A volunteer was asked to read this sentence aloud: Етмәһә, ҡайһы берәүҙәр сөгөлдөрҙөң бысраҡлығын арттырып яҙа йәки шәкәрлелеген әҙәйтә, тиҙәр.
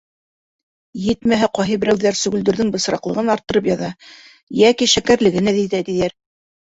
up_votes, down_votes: 1, 2